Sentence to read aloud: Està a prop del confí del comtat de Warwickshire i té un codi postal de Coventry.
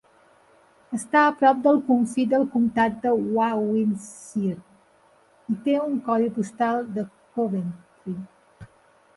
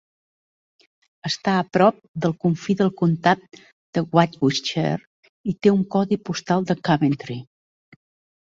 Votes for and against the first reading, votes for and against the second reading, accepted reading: 1, 2, 2, 1, second